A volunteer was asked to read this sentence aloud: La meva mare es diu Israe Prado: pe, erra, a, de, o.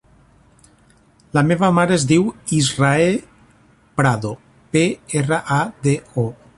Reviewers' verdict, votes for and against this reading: accepted, 2, 0